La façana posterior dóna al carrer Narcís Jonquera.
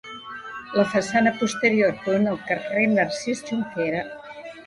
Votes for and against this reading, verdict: 1, 2, rejected